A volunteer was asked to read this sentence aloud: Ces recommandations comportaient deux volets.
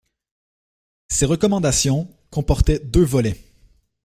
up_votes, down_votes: 2, 0